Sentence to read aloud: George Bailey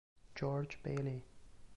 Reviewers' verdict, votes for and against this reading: accepted, 2, 1